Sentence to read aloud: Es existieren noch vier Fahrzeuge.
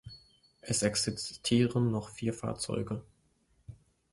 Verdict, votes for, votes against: accepted, 2, 0